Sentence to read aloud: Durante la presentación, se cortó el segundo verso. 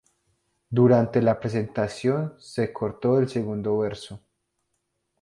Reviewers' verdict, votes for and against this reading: accepted, 8, 0